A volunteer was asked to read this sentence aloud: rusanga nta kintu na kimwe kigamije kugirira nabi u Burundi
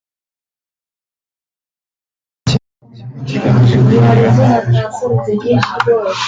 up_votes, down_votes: 0, 2